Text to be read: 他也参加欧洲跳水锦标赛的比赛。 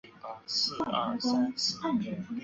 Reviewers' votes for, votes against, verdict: 0, 2, rejected